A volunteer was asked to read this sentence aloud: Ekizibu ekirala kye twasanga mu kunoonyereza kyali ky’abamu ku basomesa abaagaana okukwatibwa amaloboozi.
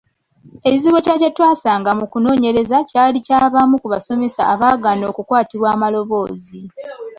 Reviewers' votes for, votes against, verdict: 2, 1, accepted